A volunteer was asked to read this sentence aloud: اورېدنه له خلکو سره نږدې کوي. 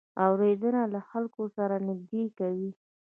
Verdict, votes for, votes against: accepted, 2, 0